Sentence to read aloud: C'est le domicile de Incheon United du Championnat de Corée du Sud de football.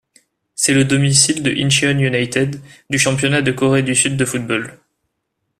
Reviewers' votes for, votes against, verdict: 2, 0, accepted